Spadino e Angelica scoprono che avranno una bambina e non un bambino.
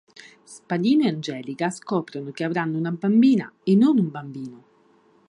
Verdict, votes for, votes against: accepted, 3, 0